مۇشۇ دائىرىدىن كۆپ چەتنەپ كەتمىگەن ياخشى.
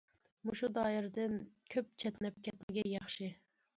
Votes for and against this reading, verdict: 2, 0, accepted